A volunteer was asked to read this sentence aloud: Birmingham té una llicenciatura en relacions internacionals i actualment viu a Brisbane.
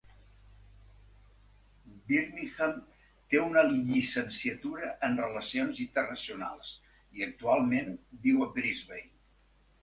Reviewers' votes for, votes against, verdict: 1, 2, rejected